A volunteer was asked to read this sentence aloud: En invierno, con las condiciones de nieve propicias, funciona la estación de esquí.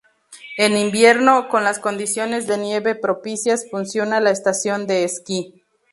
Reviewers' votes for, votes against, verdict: 2, 0, accepted